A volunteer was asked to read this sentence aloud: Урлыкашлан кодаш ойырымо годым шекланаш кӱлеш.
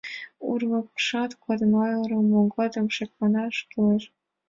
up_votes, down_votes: 1, 2